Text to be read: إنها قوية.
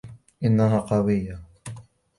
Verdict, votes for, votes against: rejected, 0, 2